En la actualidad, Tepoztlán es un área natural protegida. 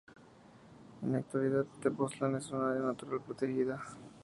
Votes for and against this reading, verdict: 2, 0, accepted